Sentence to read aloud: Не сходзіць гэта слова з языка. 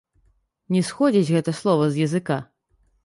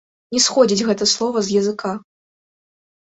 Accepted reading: second